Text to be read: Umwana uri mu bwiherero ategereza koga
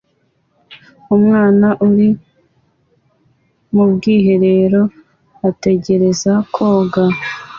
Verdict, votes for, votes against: accepted, 2, 0